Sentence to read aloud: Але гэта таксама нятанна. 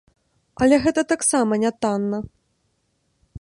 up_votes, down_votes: 2, 0